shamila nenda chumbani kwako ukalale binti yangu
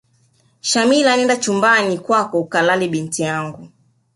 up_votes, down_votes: 1, 2